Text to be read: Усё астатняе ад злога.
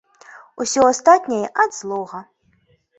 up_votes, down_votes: 2, 0